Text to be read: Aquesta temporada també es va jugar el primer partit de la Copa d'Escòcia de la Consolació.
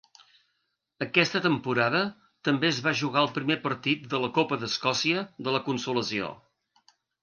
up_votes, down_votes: 2, 0